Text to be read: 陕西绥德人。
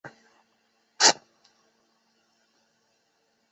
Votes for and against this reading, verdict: 0, 2, rejected